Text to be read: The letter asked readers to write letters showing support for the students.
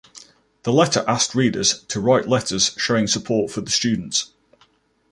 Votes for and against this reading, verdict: 2, 0, accepted